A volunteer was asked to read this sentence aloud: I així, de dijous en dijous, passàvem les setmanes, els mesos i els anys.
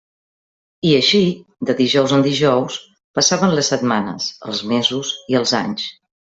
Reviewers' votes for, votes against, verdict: 2, 0, accepted